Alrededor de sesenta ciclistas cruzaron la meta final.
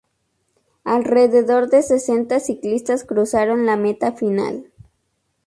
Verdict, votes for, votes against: accepted, 4, 0